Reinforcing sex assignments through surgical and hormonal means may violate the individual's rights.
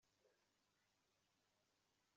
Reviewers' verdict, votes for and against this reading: rejected, 0, 2